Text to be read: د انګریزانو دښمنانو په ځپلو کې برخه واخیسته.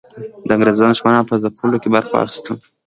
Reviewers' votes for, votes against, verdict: 2, 0, accepted